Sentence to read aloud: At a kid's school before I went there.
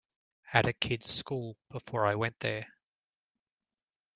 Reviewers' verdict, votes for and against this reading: accepted, 2, 0